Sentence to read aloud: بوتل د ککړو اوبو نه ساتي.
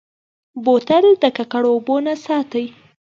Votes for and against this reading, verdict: 2, 0, accepted